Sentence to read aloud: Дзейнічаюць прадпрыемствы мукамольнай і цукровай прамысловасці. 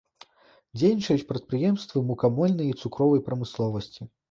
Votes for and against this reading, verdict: 2, 0, accepted